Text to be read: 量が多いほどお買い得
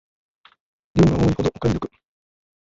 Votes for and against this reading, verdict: 0, 2, rejected